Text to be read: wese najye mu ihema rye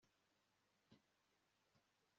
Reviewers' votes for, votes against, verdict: 1, 2, rejected